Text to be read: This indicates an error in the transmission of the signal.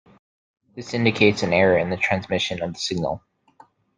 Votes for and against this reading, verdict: 1, 2, rejected